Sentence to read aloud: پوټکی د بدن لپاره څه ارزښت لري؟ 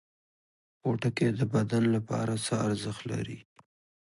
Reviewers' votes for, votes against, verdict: 2, 0, accepted